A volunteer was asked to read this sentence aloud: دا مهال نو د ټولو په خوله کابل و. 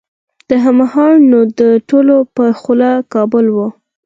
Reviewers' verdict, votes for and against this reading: accepted, 4, 2